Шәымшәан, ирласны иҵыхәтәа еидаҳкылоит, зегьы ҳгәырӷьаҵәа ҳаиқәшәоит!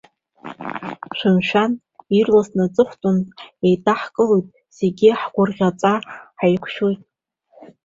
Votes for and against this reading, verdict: 0, 2, rejected